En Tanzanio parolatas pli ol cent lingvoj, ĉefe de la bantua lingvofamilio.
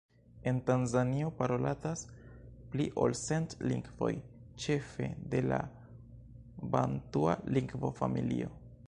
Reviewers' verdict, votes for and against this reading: rejected, 1, 2